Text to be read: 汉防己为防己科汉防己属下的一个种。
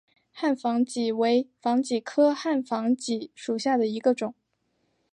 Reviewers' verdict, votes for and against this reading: accepted, 2, 0